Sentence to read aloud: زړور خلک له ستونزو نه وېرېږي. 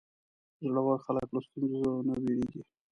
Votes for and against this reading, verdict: 1, 2, rejected